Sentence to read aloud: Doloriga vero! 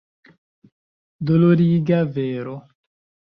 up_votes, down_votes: 2, 1